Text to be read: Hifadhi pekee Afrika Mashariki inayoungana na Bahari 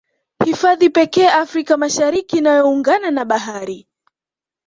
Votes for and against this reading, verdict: 1, 2, rejected